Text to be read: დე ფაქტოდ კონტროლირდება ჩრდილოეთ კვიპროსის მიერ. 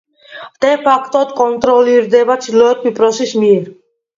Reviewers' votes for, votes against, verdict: 1, 2, rejected